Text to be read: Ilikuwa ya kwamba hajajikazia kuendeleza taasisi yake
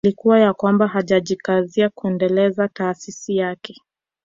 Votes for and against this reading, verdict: 2, 1, accepted